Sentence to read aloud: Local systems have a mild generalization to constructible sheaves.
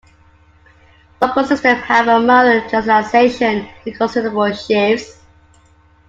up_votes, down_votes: 0, 2